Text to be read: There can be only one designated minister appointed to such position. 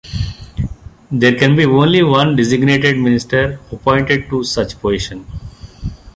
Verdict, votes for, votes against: accepted, 2, 0